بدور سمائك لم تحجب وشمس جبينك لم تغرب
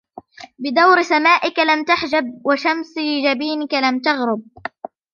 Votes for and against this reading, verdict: 0, 2, rejected